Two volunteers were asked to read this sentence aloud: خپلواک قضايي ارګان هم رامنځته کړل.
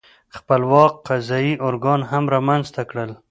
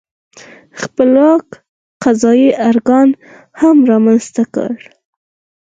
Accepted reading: first